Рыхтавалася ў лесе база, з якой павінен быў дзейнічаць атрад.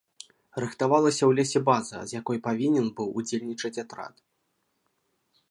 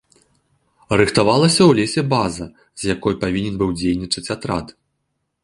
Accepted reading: second